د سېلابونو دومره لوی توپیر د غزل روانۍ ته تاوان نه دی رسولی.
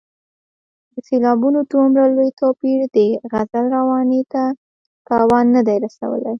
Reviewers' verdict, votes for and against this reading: accepted, 2, 0